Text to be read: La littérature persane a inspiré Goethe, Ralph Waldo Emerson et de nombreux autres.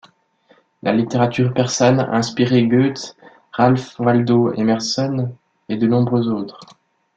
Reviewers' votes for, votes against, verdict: 2, 0, accepted